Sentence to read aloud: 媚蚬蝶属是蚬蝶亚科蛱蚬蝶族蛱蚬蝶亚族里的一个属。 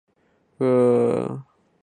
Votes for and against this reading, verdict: 2, 4, rejected